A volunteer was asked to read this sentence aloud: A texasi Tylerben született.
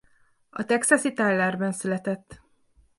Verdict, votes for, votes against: accepted, 2, 0